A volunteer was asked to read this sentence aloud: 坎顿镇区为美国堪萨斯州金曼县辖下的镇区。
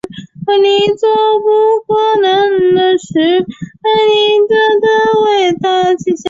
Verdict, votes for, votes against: rejected, 0, 2